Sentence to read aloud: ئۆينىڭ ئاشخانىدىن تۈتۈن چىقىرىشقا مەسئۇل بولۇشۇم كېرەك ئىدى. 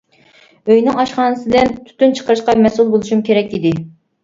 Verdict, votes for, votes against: accepted, 2, 0